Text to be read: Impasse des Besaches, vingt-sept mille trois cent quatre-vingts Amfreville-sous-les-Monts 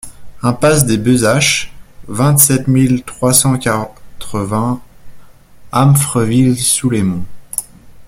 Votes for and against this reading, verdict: 0, 2, rejected